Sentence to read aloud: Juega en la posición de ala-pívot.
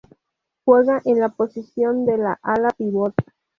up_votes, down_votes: 0, 2